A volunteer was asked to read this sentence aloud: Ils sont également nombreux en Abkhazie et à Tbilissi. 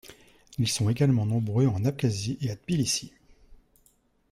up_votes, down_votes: 1, 2